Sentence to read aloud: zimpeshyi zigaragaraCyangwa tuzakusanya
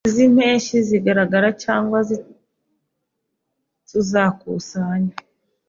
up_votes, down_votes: 0, 2